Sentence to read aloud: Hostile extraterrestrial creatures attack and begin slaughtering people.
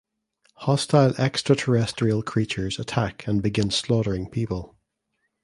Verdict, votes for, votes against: accepted, 2, 0